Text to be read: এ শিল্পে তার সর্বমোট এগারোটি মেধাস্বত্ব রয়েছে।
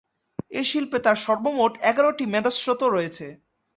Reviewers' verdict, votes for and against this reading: rejected, 0, 2